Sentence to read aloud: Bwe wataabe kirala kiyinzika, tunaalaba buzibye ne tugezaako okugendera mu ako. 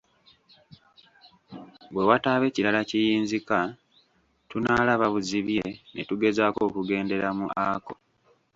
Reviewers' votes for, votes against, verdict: 1, 2, rejected